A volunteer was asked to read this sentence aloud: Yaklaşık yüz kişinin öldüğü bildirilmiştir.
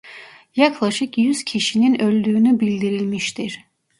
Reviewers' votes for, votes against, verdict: 0, 2, rejected